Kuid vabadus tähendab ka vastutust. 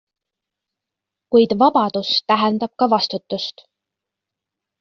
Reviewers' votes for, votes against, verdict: 2, 0, accepted